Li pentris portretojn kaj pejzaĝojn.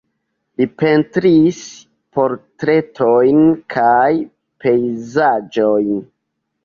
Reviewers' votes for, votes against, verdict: 1, 2, rejected